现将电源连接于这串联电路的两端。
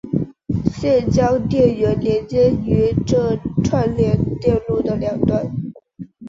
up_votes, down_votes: 2, 2